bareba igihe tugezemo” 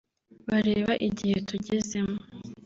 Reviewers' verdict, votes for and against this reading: rejected, 0, 2